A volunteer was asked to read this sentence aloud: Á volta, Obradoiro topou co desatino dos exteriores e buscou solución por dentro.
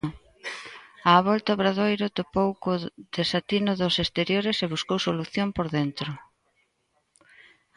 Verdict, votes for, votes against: accepted, 2, 0